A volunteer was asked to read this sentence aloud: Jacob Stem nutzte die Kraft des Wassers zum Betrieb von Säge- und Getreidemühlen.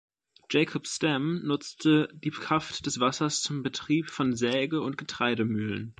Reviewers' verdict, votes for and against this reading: rejected, 1, 2